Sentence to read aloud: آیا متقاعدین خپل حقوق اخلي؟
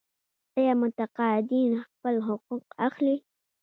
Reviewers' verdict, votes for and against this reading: rejected, 1, 2